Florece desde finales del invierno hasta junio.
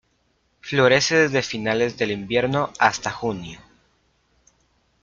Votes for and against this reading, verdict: 2, 0, accepted